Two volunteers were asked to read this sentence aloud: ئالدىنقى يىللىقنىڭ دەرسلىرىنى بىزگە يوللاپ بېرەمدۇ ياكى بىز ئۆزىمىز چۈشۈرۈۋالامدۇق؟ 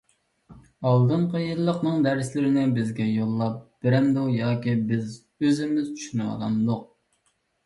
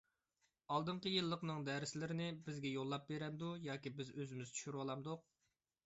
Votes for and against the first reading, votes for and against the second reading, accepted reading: 1, 2, 2, 0, second